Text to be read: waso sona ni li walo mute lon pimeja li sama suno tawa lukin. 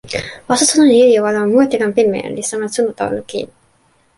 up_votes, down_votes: 1, 2